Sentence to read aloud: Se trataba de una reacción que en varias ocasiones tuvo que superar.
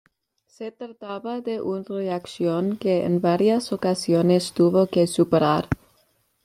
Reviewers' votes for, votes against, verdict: 1, 2, rejected